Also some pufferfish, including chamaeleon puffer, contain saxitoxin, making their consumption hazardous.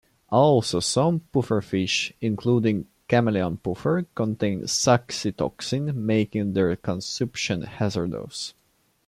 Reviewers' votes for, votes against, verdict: 1, 2, rejected